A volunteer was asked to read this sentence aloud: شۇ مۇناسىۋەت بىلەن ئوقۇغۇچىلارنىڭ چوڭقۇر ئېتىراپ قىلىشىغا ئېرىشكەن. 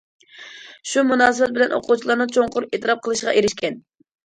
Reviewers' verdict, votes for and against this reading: accepted, 2, 0